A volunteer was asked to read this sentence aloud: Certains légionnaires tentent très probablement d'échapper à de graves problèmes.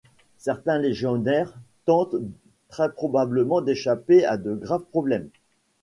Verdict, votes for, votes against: accepted, 2, 1